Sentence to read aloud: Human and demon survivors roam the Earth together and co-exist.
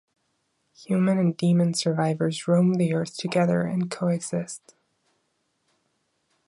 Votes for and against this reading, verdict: 2, 0, accepted